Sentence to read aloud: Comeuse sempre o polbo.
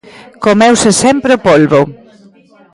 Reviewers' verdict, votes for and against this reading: accepted, 2, 1